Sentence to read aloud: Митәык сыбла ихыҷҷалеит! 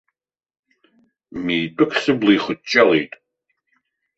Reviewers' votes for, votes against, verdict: 2, 0, accepted